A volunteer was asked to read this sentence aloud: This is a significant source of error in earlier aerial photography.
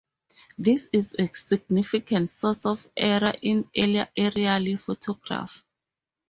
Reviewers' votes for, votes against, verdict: 2, 2, rejected